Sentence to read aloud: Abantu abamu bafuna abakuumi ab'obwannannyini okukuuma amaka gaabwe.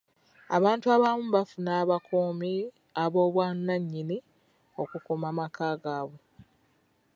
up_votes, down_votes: 2, 0